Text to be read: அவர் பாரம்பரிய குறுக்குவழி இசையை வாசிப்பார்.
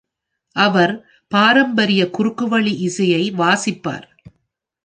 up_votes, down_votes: 2, 0